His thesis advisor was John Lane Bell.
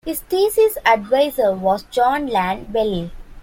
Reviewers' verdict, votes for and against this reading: rejected, 1, 2